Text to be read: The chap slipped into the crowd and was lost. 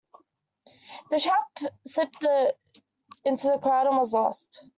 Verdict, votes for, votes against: rejected, 0, 2